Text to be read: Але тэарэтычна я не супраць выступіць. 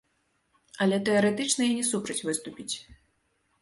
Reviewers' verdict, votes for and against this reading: accepted, 2, 0